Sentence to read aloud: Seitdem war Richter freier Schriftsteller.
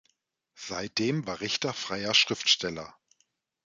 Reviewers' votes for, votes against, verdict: 2, 0, accepted